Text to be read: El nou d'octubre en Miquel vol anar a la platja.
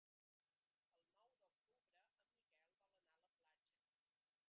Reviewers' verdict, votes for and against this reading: rejected, 1, 2